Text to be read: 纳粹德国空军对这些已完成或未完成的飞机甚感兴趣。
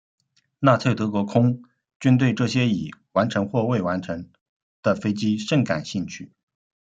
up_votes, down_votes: 1, 2